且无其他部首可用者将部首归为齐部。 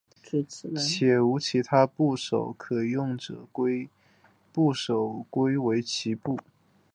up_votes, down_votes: 4, 0